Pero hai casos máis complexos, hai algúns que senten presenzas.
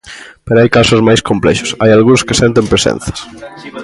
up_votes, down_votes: 2, 0